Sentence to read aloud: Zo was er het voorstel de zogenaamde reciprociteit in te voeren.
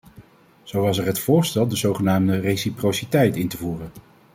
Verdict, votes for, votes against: accepted, 2, 0